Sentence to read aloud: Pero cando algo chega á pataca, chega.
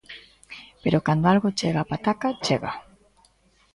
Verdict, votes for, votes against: accepted, 2, 0